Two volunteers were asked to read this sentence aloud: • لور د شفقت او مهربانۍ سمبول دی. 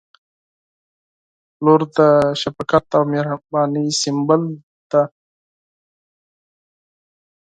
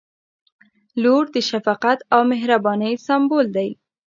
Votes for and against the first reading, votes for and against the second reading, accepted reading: 2, 4, 2, 1, second